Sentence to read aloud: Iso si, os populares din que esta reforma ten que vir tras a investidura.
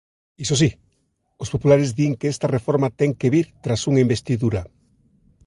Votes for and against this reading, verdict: 1, 2, rejected